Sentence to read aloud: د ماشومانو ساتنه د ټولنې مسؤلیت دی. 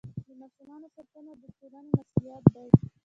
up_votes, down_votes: 0, 2